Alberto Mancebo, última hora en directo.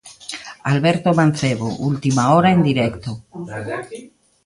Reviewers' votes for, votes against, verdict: 1, 2, rejected